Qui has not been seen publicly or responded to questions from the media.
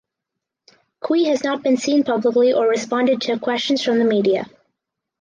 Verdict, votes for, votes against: accepted, 4, 0